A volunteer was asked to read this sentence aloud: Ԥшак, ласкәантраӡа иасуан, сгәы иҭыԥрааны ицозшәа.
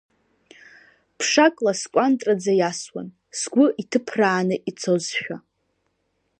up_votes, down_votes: 2, 0